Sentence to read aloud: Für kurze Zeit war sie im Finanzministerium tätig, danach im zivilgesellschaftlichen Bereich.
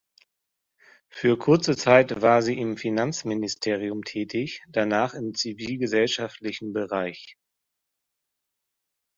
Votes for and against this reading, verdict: 2, 0, accepted